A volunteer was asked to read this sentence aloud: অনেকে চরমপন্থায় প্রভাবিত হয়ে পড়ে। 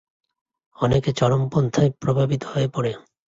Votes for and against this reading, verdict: 6, 2, accepted